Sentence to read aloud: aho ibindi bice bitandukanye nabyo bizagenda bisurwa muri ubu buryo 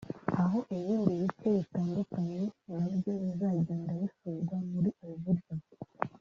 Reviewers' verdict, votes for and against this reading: rejected, 1, 2